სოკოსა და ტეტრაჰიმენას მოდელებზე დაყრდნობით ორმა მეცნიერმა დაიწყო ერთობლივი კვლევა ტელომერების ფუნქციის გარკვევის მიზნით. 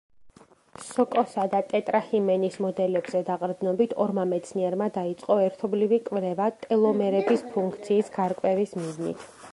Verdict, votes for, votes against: accepted, 2, 0